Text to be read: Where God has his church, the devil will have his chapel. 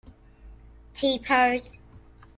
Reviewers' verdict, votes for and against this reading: rejected, 0, 2